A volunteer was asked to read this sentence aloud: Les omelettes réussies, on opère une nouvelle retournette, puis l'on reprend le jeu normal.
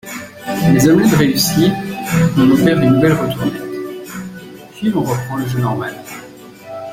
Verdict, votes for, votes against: rejected, 1, 2